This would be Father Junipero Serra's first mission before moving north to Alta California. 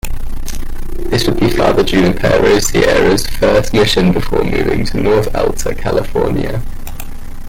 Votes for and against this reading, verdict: 0, 2, rejected